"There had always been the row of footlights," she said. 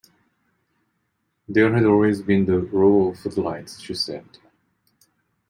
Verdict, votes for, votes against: accepted, 2, 0